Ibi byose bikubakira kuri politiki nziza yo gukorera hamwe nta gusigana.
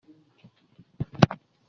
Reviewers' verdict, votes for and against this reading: rejected, 0, 2